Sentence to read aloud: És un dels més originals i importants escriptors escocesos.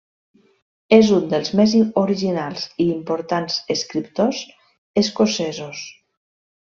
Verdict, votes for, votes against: accepted, 3, 0